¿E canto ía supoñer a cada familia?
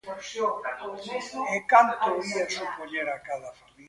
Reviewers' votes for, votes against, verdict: 0, 2, rejected